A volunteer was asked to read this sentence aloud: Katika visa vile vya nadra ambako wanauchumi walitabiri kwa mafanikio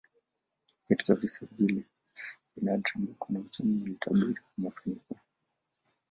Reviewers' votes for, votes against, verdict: 1, 2, rejected